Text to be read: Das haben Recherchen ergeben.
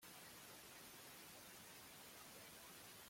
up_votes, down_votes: 0, 2